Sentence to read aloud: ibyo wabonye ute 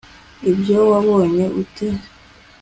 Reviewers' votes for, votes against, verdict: 3, 0, accepted